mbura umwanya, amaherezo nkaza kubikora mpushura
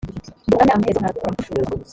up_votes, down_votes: 0, 2